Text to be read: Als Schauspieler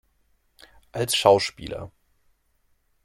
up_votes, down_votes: 2, 1